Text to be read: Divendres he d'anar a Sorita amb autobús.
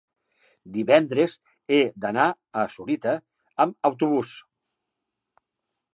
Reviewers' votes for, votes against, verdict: 2, 0, accepted